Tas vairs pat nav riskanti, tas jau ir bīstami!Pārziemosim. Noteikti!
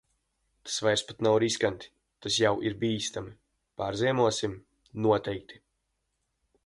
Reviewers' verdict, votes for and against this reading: rejected, 1, 2